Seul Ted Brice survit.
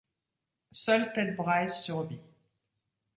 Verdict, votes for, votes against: rejected, 1, 2